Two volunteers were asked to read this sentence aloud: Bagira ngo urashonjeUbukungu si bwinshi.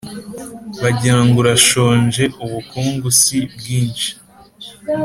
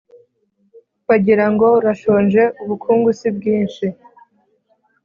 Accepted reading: first